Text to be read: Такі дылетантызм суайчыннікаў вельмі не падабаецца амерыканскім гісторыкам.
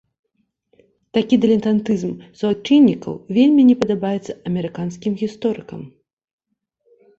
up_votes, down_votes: 2, 0